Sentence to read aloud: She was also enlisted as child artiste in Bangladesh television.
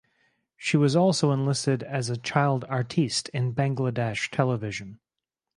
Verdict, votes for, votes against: rejected, 2, 2